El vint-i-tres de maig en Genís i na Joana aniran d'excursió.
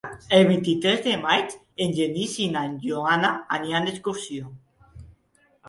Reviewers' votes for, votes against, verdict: 3, 0, accepted